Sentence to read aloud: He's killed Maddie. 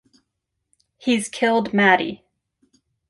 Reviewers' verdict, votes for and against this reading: accepted, 2, 0